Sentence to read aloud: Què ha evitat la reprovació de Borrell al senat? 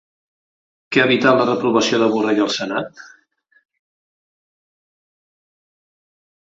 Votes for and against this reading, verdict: 2, 0, accepted